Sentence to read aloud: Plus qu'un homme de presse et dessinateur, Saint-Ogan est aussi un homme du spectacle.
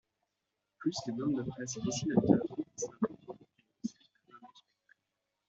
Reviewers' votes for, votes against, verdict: 0, 2, rejected